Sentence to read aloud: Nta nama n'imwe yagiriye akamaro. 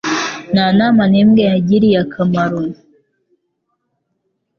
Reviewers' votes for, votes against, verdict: 3, 0, accepted